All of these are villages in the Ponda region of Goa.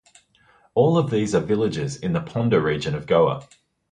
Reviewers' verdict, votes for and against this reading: accepted, 2, 0